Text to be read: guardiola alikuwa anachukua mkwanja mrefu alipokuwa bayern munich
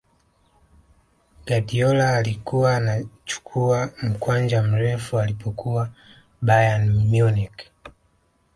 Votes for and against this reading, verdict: 2, 0, accepted